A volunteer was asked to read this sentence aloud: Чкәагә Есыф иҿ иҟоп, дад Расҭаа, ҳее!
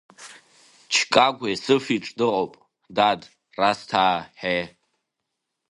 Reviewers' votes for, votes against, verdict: 2, 0, accepted